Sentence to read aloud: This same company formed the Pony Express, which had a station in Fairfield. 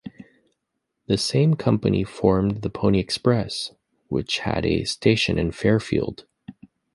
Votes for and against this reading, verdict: 2, 0, accepted